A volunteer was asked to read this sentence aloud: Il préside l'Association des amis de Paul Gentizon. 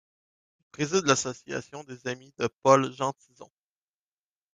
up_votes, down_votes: 1, 2